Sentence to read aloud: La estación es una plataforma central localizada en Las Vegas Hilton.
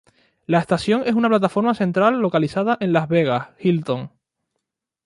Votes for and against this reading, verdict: 4, 0, accepted